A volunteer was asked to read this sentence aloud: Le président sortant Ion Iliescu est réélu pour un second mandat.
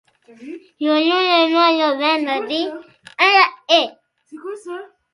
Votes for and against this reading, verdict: 0, 2, rejected